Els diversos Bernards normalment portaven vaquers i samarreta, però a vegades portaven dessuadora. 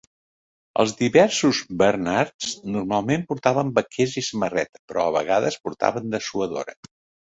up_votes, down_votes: 2, 0